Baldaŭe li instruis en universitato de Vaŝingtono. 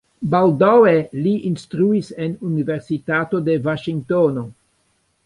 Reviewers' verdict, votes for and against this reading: accepted, 2, 1